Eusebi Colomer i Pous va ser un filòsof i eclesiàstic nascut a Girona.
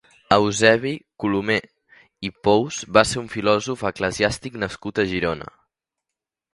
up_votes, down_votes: 1, 2